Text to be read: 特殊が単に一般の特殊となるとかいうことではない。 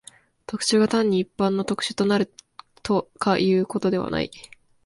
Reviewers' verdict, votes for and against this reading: accepted, 2, 1